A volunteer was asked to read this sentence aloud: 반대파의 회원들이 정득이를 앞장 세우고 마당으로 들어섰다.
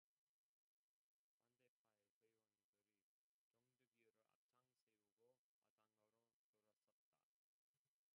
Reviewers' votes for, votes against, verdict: 0, 2, rejected